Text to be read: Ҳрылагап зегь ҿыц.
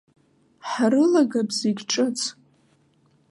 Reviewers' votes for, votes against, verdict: 1, 2, rejected